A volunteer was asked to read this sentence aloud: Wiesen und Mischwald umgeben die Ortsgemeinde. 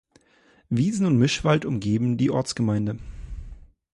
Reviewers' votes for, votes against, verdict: 2, 0, accepted